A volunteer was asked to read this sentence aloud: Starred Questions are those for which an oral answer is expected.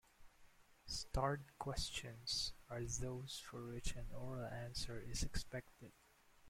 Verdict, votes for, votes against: rejected, 1, 2